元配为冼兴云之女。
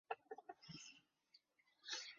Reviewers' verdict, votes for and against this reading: rejected, 1, 3